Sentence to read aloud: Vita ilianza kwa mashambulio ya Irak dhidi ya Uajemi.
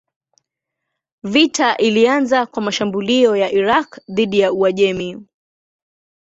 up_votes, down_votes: 2, 0